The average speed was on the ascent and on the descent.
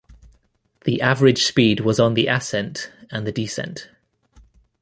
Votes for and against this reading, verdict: 1, 2, rejected